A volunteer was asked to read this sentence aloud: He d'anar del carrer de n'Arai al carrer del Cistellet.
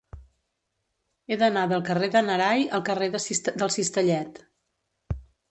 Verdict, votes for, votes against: rejected, 0, 2